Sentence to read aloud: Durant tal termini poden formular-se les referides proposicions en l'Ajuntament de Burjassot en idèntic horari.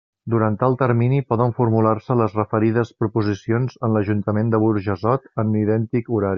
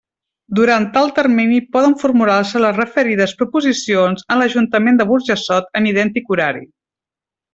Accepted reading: second